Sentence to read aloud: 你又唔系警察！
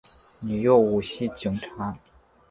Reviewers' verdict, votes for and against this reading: accepted, 2, 0